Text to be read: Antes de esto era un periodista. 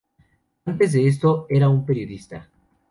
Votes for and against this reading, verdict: 2, 0, accepted